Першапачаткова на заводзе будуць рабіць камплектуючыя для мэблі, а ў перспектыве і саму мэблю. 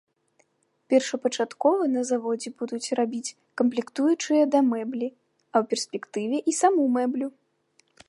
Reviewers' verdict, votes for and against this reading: rejected, 1, 2